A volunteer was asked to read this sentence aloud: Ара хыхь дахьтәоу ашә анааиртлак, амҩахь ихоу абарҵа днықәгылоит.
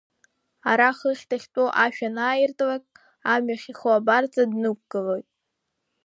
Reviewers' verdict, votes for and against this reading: accepted, 2, 1